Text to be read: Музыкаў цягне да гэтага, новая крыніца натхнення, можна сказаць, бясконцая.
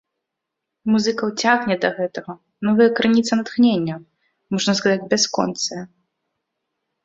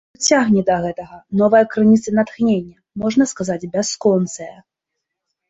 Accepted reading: first